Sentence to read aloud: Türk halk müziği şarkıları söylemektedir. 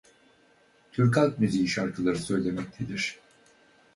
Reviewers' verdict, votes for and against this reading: accepted, 4, 2